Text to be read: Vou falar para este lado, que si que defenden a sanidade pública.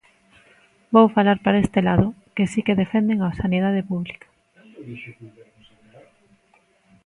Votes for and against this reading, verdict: 1, 2, rejected